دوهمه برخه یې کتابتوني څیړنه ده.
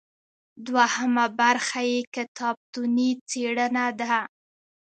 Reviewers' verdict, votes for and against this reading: accepted, 2, 0